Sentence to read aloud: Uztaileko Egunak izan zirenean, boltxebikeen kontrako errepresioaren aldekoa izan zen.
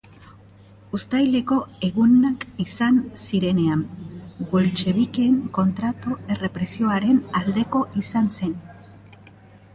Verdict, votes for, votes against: accepted, 3, 2